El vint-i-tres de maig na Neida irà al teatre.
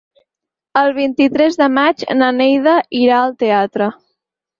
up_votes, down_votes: 6, 0